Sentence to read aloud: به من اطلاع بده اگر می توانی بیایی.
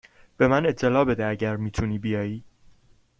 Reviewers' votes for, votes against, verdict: 2, 0, accepted